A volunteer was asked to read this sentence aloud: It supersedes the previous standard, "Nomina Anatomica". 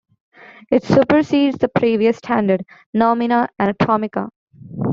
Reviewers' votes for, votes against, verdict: 2, 1, accepted